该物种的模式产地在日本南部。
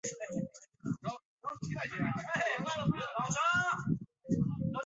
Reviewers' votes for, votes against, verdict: 0, 2, rejected